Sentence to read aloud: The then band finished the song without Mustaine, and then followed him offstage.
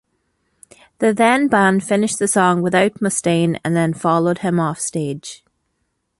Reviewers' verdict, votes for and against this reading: accepted, 2, 0